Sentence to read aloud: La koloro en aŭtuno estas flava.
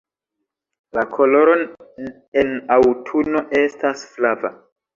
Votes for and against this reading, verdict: 2, 1, accepted